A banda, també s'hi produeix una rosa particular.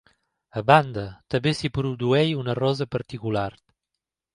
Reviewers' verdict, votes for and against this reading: rejected, 1, 2